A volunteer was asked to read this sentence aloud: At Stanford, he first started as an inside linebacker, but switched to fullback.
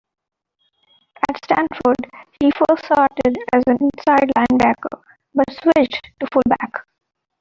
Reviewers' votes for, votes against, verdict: 0, 2, rejected